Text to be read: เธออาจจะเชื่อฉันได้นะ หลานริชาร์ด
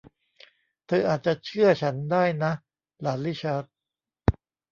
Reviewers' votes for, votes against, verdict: 2, 1, accepted